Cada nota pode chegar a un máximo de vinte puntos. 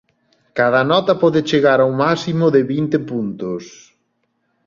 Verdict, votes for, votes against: accepted, 2, 1